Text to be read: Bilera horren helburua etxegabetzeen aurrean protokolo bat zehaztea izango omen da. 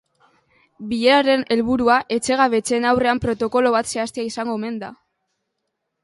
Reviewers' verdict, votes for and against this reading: rejected, 0, 2